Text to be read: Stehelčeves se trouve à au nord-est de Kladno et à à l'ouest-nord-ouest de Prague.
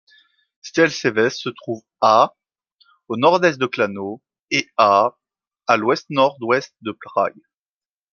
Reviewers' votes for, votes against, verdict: 2, 0, accepted